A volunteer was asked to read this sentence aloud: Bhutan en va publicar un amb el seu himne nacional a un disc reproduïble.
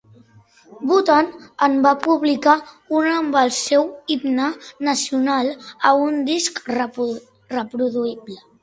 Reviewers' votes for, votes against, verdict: 1, 2, rejected